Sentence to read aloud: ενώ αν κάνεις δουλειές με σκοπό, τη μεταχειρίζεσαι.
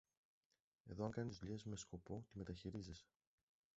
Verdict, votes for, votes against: rejected, 0, 2